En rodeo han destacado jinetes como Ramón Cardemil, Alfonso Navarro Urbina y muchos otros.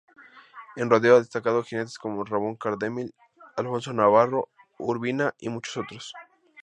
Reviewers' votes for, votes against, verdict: 0, 2, rejected